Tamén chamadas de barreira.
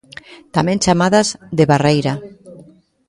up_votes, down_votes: 0, 2